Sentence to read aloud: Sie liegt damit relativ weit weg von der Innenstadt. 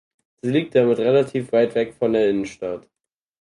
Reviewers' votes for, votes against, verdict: 4, 2, accepted